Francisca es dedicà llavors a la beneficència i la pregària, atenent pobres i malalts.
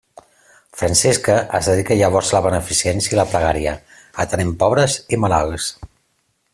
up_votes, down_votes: 2, 1